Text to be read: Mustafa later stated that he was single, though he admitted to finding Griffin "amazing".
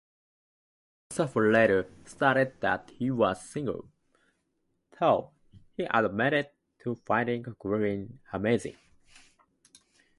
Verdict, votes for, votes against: rejected, 0, 2